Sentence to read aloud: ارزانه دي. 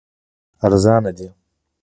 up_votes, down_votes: 1, 2